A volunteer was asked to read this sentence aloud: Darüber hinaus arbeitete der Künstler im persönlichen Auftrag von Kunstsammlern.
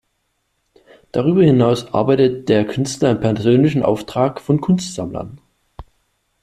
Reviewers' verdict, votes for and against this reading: rejected, 1, 2